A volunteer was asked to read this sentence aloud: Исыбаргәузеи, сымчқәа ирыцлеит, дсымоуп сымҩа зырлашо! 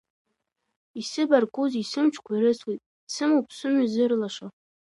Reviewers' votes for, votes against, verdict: 2, 0, accepted